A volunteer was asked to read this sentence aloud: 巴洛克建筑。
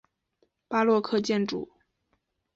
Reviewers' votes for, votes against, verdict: 8, 0, accepted